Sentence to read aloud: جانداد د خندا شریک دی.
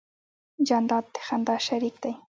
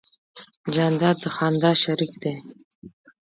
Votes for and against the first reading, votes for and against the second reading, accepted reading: 3, 0, 0, 2, first